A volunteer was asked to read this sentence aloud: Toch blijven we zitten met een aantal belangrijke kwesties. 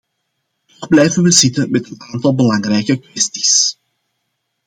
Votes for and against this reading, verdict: 0, 2, rejected